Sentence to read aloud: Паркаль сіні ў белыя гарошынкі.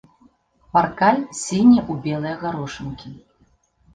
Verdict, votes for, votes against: accepted, 2, 0